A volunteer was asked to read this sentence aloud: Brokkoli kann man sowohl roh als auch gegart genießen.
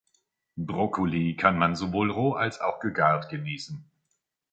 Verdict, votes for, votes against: accepted, 2, 0